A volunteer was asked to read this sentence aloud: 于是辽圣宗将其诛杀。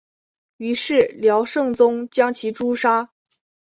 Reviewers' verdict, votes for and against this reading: accepted, 3, 0